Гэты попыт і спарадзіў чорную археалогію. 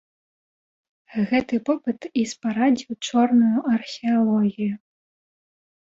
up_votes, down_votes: 0, 2